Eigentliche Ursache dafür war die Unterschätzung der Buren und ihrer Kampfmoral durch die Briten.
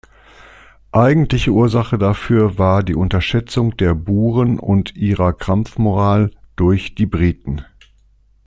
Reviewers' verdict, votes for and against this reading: accepted, 2, 0